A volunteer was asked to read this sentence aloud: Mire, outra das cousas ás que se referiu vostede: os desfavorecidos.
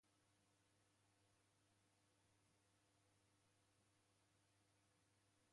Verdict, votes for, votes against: rejected, 0, 2